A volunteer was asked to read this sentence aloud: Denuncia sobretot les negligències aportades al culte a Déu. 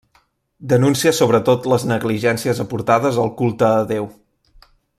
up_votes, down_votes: 0, 2